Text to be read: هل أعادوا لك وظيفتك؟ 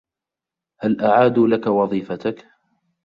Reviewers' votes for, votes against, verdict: 0, 2, rejected